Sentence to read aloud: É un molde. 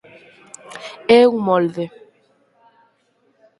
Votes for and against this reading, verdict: 4, 0, accepted